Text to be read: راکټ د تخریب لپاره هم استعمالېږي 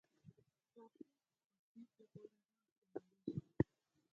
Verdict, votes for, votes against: rejected, 4, 6